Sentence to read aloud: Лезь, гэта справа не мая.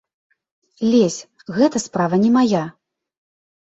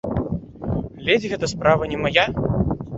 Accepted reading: first